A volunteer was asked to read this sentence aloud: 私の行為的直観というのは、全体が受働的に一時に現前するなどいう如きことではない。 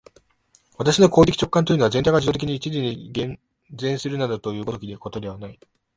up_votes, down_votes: 1, 3